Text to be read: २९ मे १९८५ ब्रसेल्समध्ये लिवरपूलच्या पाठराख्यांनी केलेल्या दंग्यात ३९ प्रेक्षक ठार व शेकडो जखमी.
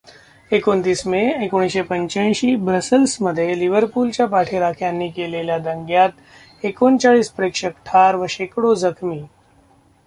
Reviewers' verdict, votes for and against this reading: rejected, 0, 2